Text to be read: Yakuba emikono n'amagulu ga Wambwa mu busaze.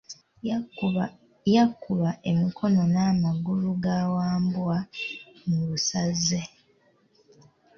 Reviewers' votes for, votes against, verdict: 1, 2, rejected